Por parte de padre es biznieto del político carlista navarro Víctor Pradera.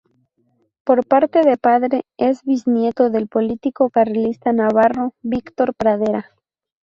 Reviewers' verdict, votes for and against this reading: accepted, 4, 0